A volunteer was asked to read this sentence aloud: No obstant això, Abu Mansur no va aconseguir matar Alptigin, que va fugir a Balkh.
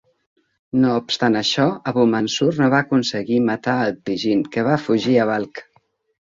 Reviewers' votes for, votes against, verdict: 3, 1, accepted